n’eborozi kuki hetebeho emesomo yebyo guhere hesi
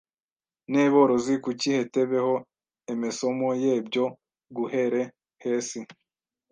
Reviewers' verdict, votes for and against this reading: rejected, 1, 2